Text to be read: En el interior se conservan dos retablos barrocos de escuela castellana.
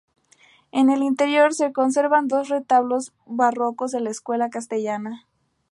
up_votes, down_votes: 0, 2